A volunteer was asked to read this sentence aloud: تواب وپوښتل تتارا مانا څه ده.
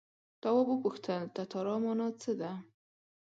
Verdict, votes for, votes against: accepted, 8, 0